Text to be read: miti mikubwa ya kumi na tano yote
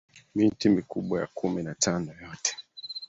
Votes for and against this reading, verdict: 2, 0, accepted